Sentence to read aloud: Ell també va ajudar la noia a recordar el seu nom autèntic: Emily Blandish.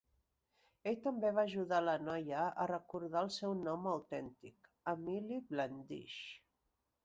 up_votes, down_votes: 1, 2